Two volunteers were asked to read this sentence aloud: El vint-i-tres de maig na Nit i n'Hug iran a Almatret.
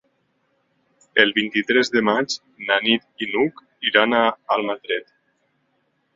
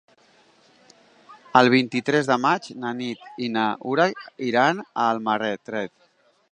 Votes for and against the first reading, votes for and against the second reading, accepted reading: 2, 1, 0, 2, first